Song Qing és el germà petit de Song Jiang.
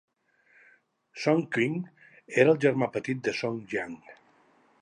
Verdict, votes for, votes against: rejected, 0, 2